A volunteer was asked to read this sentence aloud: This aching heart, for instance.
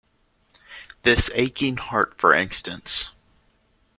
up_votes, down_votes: 1, 2